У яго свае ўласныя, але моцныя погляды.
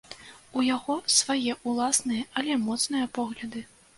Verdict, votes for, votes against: accepted, 2, 1